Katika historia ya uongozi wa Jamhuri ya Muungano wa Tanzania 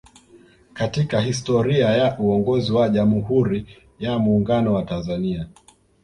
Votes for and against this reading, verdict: 2, 1, accepted